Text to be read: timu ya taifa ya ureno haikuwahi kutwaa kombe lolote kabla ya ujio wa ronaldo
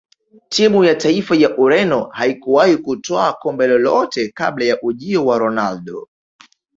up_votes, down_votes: 4, 1